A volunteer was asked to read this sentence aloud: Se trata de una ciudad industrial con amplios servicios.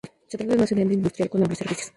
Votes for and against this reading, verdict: 0, 2, rejected